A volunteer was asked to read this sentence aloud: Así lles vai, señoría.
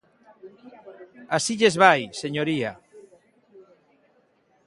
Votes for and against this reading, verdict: 3, 1, accepted